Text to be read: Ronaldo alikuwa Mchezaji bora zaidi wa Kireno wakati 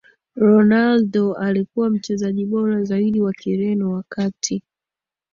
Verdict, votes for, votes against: accepted, 2, 0